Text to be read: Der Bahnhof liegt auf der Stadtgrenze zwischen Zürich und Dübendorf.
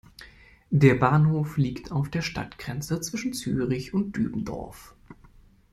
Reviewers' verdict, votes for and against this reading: accepted, 2, 0